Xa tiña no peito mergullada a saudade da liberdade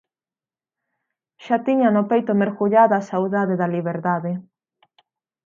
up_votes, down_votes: 16, 0